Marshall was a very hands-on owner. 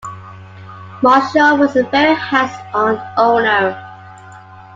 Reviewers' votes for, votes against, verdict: 2, 0, accepted